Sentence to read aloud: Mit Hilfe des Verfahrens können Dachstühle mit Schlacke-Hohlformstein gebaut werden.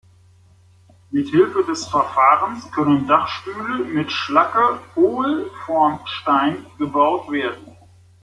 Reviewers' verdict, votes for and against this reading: rejected, 0, 2